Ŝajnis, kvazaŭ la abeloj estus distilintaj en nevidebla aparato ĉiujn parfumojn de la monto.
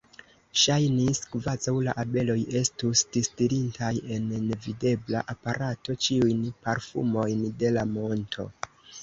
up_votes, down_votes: 2, 1